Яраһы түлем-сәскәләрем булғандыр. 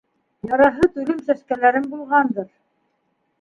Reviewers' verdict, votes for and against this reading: accepted, 2, 0